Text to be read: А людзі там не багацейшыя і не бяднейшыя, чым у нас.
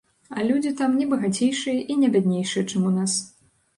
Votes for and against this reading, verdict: 2, 0, accepted